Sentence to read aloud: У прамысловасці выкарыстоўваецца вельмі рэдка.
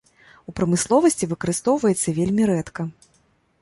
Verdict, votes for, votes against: accepted, 2, 0